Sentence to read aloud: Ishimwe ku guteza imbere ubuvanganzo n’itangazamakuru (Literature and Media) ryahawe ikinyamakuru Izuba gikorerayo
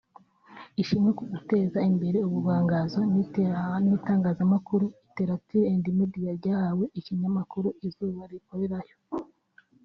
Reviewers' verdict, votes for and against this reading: rejected, 1, 3